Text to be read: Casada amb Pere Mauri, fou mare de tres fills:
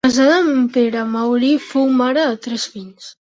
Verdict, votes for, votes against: rejected, 1, 2